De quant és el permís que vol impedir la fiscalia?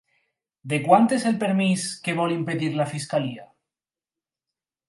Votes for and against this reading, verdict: 4, 0, accepted